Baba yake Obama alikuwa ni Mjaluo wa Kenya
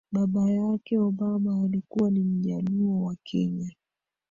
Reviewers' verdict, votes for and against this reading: rejected, 1, 2